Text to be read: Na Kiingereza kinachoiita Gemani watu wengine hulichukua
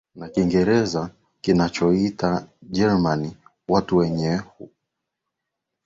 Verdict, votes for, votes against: rejected, 1, 2